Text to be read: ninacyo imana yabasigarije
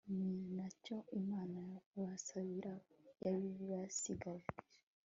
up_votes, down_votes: 0, 2